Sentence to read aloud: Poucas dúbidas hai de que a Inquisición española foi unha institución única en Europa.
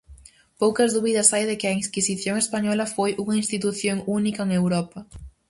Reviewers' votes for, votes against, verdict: 0, 4, rejected